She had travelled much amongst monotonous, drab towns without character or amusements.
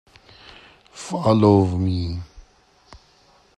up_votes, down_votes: 0, 2